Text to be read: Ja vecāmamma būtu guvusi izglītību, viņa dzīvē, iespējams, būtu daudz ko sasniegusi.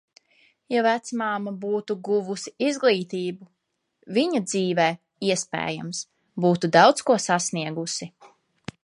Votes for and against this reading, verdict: 0, 2, rejected